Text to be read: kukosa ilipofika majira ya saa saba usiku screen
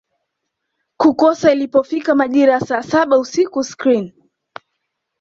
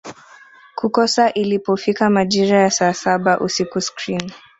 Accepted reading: second